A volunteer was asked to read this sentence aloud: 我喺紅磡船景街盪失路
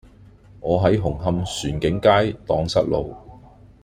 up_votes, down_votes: 2, 0